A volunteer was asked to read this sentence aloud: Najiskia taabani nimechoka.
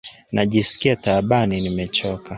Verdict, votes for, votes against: accepted, 2, 0